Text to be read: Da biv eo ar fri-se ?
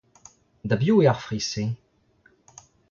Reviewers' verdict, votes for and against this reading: accepted, 2, 0